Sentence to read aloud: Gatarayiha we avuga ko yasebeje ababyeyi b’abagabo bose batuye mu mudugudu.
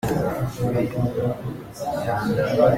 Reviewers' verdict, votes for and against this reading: rejected, 0, 2